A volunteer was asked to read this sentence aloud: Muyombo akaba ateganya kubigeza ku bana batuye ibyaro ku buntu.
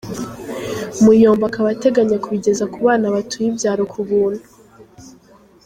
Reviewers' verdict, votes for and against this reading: accepted, 2, 0